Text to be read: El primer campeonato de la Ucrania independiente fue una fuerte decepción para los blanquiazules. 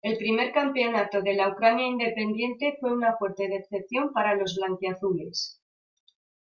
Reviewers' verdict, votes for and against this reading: accepted, 2, 1